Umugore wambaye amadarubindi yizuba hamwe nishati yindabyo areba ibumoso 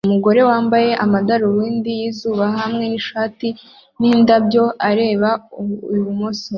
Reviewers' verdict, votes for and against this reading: accepted, 2, 0